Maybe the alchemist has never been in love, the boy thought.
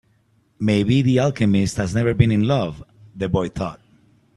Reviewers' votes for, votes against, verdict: 3, 0, accepted